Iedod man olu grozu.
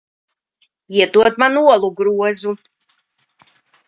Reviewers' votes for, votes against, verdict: 1, 2, rejected